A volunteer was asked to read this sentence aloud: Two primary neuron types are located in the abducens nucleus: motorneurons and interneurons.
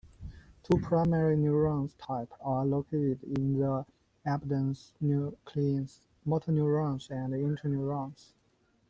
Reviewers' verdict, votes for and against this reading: accepted, 2, 0